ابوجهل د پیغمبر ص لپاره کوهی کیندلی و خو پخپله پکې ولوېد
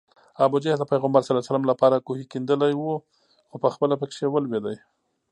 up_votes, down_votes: 2, 0